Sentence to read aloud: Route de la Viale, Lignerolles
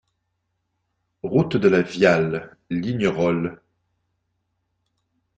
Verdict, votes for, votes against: accepted, 2, 0